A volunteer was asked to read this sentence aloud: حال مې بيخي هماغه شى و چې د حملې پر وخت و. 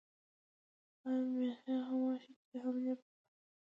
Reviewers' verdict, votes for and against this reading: accepted, 2, 1